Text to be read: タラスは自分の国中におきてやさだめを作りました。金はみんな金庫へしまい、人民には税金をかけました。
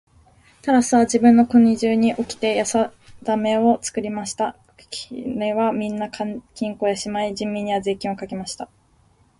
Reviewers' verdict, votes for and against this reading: rejected, 1, 2